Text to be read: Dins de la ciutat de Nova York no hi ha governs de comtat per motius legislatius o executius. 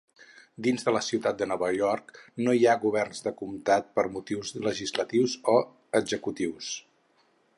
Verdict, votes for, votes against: accepted, 4, 0